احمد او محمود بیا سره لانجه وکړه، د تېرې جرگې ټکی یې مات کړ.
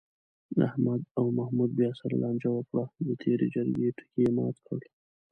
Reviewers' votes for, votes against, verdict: 1, 2, rejected